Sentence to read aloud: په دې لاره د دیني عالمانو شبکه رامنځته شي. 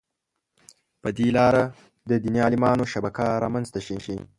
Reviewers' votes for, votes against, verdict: 0, 2, rejected